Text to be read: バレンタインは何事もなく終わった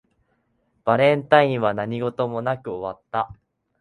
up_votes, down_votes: 2, 0